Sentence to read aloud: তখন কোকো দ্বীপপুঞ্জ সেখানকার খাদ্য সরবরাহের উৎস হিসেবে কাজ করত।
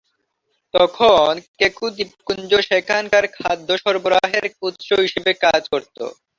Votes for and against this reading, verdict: 0, 4, rejected